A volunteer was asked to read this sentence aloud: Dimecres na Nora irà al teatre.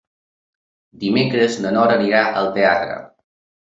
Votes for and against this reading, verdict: 3, 1, accepted